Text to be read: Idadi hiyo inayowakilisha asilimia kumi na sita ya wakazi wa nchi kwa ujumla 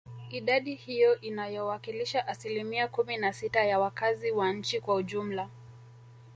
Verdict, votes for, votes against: rejected, 1, 2